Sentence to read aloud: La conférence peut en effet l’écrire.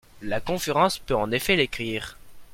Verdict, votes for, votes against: accepted, 2, 0